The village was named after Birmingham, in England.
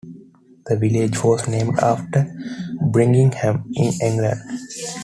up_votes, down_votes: 0, 2